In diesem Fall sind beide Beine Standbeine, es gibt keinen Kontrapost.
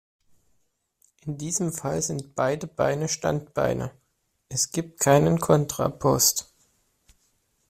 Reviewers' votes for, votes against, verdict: 2, 0, accepted